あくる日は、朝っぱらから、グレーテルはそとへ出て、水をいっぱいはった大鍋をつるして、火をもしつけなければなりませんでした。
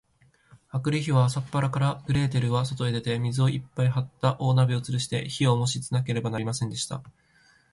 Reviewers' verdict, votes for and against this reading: accepted, 3, 0